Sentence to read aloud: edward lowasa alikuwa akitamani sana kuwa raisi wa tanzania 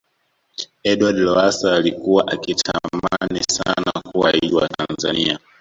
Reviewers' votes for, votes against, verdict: 1, 2, rejected